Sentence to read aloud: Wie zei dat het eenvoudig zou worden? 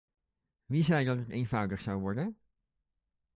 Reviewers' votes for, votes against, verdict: 2, 1, accepted